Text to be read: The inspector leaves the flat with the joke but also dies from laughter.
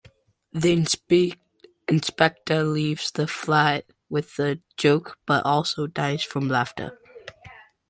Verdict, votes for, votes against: rejected, 0, 2